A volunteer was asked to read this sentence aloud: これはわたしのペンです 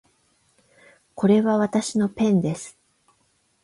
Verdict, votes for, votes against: accepted, 8, 0